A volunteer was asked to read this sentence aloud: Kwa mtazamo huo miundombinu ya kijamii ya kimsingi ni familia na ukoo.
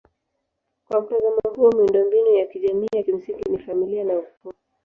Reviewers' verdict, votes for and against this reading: rejected, 1, 2